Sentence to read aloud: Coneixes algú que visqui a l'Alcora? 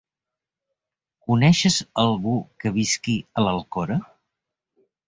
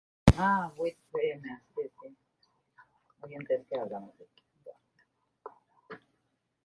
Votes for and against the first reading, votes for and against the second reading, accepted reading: 2, 0, 0, 3, first